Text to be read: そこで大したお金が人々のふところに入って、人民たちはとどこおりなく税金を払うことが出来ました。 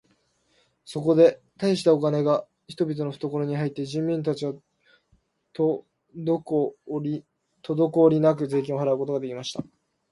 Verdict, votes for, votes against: rejected, 2, 3